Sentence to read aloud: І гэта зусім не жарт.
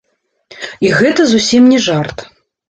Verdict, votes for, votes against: rejected, 1, 2